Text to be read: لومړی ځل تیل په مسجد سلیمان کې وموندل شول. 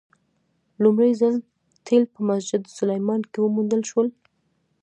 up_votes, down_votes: 0, 2